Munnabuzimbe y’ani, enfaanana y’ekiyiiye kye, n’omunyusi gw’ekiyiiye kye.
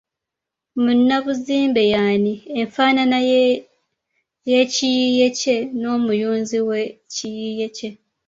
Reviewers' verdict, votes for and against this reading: rejected, 1, 2